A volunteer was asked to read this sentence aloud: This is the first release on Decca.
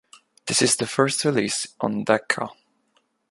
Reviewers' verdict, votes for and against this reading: accepted, 2, 0